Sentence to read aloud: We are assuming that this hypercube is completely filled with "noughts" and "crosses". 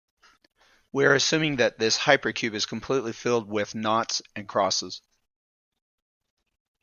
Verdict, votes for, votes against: accepted, 2, 0